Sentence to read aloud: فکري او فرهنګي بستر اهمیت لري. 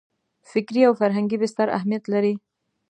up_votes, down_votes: 2, 0